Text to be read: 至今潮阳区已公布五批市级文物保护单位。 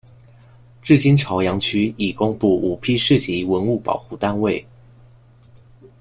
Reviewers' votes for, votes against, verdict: 2, 0, accepted